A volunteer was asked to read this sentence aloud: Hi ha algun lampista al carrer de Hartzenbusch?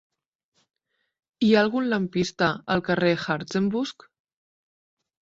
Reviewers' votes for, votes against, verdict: 0, 2, rejected